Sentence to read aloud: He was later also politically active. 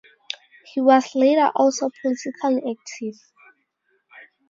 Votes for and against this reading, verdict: 2, 2, rejected